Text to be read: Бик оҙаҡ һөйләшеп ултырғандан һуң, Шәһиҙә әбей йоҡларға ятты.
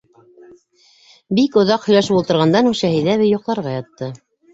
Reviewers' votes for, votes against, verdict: 2, 0, accepted